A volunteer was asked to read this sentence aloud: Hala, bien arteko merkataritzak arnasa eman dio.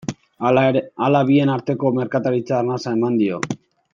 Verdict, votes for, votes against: rejected, 0, 2